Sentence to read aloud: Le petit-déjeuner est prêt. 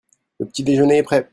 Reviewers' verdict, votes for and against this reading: rejected, 1, 2